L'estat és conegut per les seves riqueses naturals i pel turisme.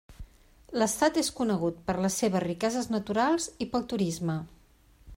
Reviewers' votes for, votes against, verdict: 3, 0, accepted